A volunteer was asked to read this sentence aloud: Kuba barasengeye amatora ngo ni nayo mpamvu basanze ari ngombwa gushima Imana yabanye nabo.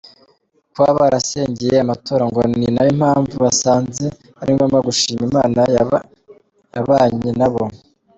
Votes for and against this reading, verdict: 0, 3, rejected